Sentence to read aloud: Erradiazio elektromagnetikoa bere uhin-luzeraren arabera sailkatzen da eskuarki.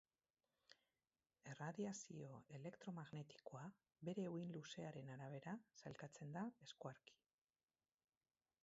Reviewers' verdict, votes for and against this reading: rejected, 2, 4